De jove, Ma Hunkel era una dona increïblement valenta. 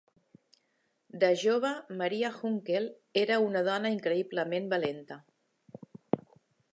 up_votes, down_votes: 0, 2